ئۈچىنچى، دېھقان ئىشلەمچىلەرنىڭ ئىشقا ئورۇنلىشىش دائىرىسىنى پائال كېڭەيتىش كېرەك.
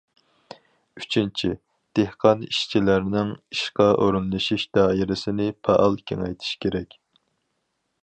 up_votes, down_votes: 0, 2